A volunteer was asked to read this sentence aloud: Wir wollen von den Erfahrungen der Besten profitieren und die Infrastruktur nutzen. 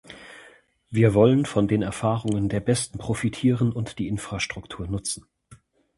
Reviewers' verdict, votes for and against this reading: accepted, 2, 0